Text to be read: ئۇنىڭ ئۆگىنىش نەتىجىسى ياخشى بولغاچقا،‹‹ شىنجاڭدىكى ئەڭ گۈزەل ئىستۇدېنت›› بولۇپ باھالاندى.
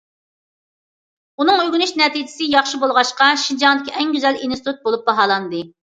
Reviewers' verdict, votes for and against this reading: rejected, 0, 2